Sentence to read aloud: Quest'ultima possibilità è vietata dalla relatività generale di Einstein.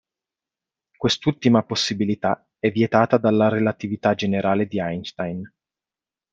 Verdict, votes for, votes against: accepted, 2, 0